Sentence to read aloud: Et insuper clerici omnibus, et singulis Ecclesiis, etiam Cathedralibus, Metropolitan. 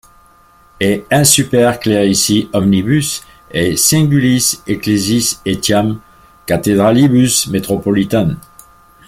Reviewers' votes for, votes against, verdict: 1, 2, rejected